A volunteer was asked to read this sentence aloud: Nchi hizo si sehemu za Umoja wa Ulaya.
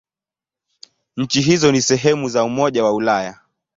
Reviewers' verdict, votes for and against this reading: rejected, 0, 2